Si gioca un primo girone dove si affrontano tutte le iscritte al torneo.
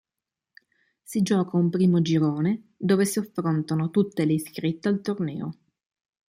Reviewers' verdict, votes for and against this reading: accepted, 2, 0